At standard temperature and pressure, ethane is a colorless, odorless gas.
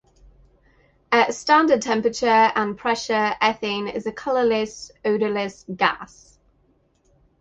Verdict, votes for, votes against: accepted, 8, 0